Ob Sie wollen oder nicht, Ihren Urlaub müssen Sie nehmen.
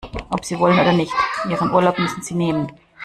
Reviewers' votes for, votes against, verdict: 2, 0, accepted